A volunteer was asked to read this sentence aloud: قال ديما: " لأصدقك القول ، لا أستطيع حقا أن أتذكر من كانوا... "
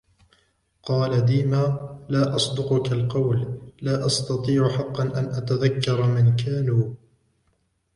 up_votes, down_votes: 0, 2